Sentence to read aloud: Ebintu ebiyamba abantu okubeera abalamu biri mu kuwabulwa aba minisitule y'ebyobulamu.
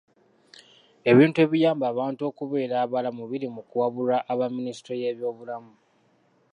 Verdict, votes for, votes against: rejected, 1, 2